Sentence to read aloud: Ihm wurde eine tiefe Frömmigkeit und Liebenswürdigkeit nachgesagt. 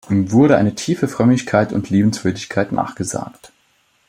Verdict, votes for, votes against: accepted, 2, 0